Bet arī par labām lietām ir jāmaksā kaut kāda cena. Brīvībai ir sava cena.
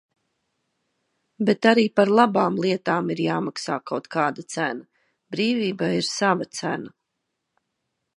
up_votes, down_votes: 2, 0